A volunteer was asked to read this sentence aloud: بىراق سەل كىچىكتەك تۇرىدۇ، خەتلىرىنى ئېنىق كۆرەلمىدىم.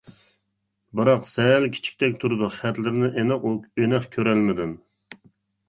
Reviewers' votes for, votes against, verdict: 0, 2, rejected